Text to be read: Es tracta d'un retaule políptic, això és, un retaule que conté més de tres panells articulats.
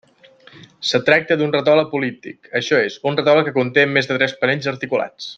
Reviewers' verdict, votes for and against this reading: rejected, 0, 2